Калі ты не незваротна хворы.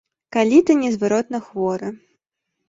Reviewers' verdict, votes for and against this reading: rejected, 1, 2